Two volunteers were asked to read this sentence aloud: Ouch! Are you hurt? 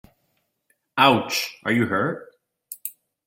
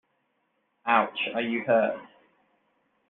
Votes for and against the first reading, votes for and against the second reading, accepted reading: 2, 0, 1, 2, first